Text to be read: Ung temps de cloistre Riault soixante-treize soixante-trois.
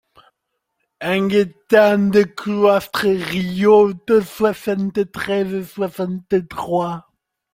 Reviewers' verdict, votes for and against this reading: rejected, 1, 2